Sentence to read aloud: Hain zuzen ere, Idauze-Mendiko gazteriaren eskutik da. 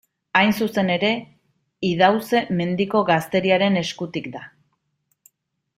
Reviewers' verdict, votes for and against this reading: accepted, 2, 0